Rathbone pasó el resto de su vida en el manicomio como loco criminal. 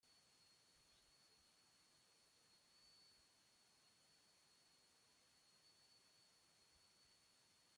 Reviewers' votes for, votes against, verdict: 0, 2, rejected